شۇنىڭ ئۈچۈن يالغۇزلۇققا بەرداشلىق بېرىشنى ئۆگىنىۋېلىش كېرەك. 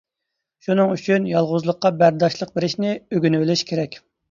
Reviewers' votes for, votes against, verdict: 2, 0, accepted